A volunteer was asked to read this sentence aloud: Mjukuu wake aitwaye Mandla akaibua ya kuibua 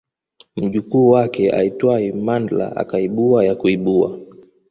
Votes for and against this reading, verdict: 2, 0, accepted